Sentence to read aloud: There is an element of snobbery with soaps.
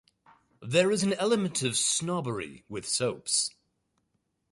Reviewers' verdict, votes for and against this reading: accepted, 2, 0